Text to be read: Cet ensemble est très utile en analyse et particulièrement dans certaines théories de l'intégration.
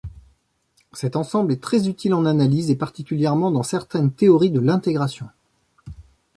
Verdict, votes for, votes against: accepted, 2, 0